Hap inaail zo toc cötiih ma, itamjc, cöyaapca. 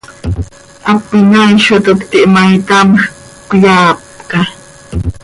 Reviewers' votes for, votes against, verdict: 2, 0, accepted